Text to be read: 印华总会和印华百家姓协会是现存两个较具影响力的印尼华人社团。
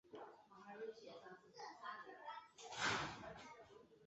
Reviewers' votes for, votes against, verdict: 0, 3, rejected